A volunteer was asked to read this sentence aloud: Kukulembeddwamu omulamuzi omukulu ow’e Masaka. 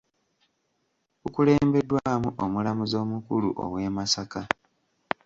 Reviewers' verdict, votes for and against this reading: rejected, 1, 2